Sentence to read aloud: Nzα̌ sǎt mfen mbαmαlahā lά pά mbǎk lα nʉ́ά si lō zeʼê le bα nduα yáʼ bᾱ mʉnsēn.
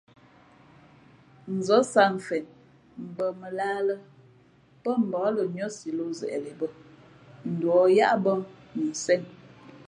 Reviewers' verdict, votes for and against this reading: accepted, 2, 0